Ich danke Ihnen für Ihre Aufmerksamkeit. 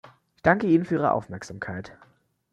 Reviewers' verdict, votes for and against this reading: rejected, 1, 2